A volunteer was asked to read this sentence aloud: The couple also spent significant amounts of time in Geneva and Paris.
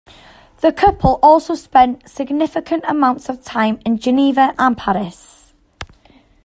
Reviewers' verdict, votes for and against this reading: accepted, 2, 0